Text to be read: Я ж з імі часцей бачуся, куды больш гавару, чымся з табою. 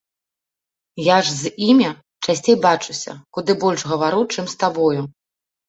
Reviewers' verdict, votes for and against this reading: rejected, 1, 2